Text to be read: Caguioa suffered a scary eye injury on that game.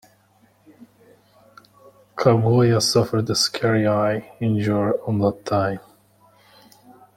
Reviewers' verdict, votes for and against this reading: rejected, 0, 2